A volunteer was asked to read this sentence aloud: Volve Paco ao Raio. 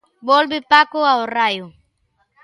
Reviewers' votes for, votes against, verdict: 2, 0, accepted